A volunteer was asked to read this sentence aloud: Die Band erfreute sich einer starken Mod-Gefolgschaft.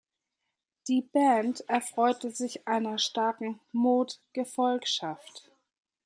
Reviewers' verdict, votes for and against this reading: rejected, 1, 2